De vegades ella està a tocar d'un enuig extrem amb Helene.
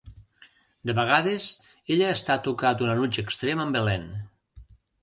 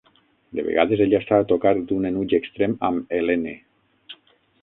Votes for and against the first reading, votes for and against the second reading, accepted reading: 2, 1, 3, 6, first